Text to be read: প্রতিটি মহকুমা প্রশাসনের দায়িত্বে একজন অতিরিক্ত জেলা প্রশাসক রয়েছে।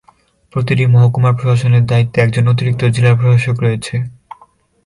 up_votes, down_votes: 12, 3